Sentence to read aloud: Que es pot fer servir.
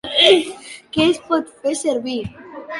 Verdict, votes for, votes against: rejected, 1, 3